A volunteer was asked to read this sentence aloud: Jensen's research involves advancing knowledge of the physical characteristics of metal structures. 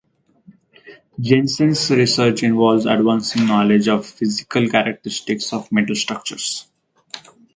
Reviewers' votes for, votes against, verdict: 2, 0, accepted